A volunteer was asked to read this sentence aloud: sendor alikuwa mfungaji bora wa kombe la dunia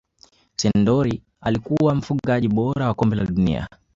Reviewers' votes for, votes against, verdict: 2, 1, accepted